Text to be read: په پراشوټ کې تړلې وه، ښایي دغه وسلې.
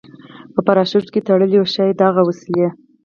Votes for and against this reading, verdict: 0, 4, rejected